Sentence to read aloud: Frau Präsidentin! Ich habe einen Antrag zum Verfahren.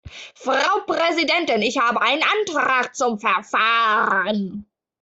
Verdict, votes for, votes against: accepted, 2, 1